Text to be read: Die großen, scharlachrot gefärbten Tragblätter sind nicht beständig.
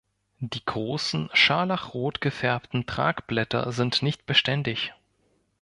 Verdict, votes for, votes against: accepted, 2, 0